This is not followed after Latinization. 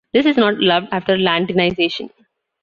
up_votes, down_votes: 0, 2